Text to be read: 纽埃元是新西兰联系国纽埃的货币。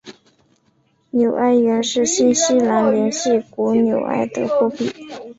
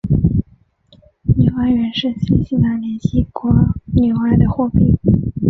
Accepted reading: first